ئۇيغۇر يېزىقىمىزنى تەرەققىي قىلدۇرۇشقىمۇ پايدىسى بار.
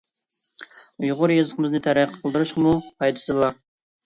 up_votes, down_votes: 2, 0